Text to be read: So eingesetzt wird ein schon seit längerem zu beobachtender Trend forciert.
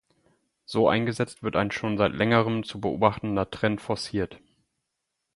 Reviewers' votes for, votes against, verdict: 4, 0, accepted